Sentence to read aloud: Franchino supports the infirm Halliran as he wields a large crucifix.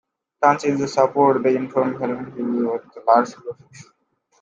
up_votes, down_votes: 0, 2